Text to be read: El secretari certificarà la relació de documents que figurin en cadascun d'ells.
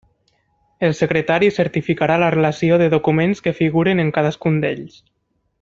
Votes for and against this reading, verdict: 2, 0, accepted